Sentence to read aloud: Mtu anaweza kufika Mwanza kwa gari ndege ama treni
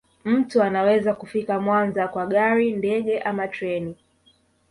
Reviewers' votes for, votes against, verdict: 1, 2, rejected